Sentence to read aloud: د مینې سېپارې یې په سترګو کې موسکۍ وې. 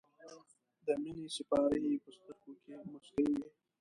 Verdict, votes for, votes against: rejected, 1, 2